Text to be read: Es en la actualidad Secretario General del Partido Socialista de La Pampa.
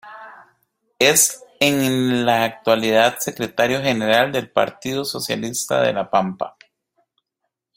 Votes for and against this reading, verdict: 2, 0, accepted